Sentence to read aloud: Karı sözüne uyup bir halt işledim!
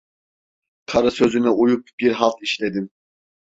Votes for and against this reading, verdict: 2, 0, accepted